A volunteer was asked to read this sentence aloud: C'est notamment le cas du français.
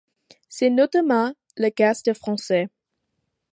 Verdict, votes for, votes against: accepted, 2, 0